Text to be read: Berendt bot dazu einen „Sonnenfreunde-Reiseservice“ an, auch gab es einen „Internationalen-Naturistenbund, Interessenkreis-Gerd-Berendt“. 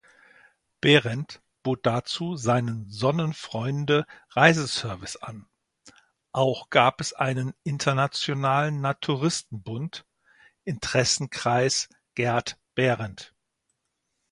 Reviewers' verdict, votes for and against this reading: rejected, 1, 2